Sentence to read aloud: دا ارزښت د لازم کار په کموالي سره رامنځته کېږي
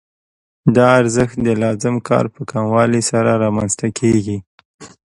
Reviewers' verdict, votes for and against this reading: accepted, 2, 0